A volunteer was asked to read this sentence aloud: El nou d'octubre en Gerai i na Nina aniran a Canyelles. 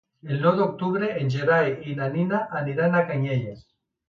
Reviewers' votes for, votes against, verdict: 2, 0, accepted